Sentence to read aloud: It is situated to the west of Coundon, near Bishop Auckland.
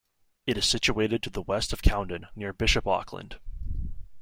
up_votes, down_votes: 1, 2